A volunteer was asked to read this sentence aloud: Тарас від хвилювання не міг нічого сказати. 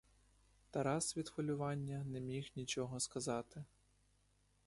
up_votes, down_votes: 2, 0